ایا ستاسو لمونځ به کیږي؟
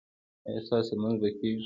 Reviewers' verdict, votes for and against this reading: accepted, 3, 0